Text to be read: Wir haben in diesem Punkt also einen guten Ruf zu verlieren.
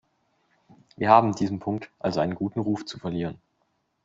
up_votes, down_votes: 1, 2